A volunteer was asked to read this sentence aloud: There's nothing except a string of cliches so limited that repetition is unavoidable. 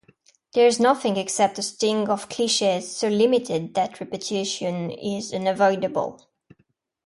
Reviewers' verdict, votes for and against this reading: rejected, 1, 2